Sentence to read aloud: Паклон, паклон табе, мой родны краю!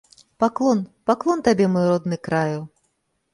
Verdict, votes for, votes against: rejected, 0, 2